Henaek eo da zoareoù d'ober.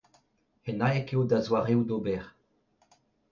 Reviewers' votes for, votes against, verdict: 0, 2, rejected